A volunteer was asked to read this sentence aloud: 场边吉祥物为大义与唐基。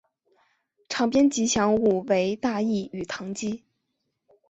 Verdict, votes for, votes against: accepted, 3, 0